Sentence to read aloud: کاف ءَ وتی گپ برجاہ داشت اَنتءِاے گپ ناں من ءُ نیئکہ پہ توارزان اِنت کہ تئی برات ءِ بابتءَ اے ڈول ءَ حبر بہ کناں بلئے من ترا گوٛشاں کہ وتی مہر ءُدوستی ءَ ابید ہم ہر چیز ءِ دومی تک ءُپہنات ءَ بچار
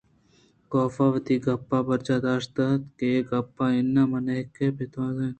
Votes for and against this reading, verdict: 0, 2, rejected